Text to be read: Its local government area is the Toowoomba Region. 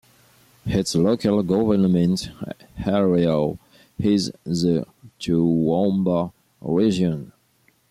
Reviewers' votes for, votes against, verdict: 2, 1, accepted